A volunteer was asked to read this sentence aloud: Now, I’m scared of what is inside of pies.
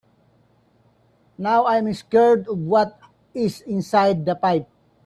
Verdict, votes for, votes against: rejected, 0, 2